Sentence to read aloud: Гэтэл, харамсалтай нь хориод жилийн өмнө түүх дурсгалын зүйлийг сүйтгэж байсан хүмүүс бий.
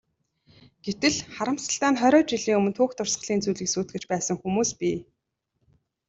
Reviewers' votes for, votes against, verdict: 2, 0, accepted